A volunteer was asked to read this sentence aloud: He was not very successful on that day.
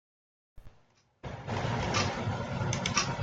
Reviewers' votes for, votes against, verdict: 0, 3, rejected